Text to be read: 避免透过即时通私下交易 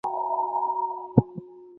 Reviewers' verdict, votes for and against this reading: rejected, 1, 2